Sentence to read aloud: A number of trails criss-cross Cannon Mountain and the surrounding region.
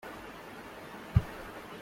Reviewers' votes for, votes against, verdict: 0, 2, rejected